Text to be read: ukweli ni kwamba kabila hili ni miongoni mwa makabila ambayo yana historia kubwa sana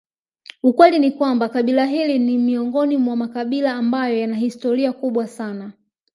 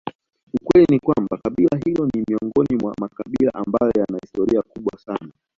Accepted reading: second